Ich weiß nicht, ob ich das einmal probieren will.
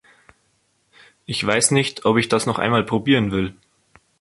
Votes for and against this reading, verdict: 0, 2, rejected